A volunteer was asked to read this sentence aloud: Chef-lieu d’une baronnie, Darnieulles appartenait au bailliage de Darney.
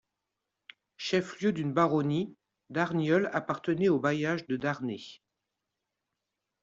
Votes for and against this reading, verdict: 2, 0, accepted